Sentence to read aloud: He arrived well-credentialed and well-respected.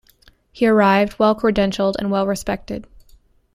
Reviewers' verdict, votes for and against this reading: accepted, 2, 0